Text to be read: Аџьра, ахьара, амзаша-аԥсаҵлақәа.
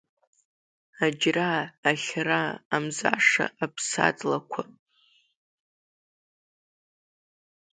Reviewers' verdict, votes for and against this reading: accepted, 2, 1